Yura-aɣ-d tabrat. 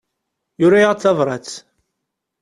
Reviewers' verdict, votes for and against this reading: accepted, 2, 0